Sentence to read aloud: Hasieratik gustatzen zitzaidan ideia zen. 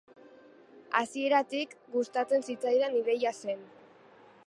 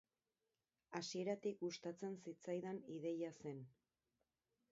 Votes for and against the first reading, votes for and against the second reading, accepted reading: 2, 0, 2, 2, first